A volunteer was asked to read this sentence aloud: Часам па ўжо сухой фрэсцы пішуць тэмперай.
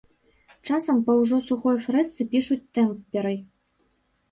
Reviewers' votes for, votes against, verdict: 2, 1, accepted